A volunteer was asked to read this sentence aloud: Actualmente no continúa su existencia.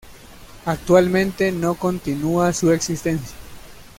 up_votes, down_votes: 2, 0